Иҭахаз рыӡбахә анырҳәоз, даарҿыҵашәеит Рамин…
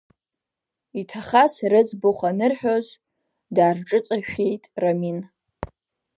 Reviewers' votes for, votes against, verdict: 2, 0, accepted